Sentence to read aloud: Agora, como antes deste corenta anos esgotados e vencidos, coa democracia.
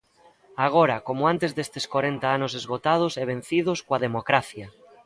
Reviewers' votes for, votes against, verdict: 2, 1, accepted